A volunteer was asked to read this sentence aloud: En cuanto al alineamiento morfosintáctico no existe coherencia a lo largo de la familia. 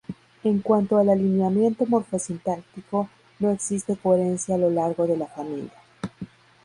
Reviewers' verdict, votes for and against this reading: accepted, 2, 0